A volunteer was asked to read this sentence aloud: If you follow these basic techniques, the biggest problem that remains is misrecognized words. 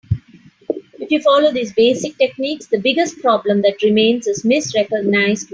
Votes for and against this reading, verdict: 0, 2, rejected